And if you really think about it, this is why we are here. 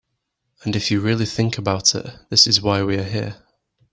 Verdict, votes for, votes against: accepted, 2, 0